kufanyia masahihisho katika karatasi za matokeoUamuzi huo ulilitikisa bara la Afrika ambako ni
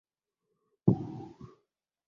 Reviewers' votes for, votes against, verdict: 3, 8, rejected